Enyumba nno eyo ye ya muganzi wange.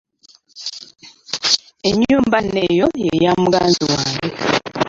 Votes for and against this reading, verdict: 0, 2, rejected